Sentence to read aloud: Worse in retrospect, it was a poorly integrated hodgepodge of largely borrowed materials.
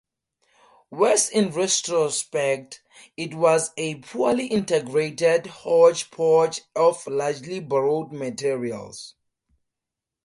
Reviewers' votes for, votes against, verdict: 4, 0, accepted